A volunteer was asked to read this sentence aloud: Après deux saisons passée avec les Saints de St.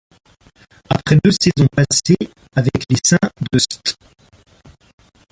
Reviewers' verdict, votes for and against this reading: rejected, 1, 2